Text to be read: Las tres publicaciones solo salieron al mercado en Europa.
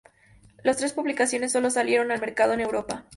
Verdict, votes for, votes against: accepted, 2, 0